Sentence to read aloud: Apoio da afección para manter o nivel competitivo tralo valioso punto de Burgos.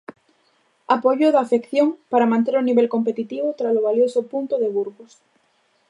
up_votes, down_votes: 2, 0